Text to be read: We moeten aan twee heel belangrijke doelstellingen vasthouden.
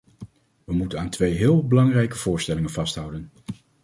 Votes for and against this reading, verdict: 0, 2, rejected